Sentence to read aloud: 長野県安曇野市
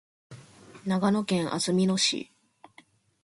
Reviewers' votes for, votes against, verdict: 4, 0, accepted